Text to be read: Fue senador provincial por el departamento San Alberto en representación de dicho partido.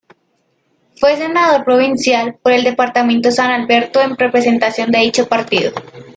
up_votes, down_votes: 2, 1